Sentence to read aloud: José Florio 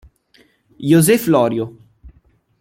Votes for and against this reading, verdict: 2, 0, accepted